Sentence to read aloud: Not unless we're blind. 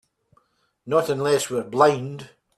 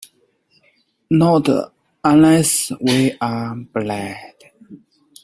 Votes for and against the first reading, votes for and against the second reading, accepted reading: 2, 1, 0, 4, first